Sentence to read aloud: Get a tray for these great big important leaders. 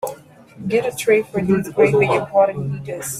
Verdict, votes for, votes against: rejected, 3, 8